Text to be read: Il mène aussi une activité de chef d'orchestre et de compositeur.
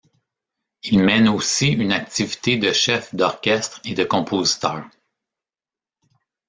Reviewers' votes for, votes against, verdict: 1, 2, rejected